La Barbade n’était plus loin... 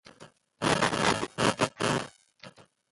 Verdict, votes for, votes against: rejected, 0, 2